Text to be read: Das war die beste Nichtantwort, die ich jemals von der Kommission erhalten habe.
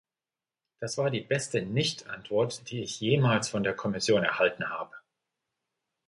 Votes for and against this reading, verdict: 2, 1, accepted